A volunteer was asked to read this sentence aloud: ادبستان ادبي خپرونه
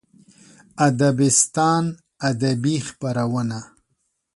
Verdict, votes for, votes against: accepted, 2, 0